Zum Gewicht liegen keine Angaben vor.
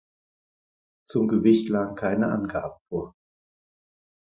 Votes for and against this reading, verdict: 0, 4, rejected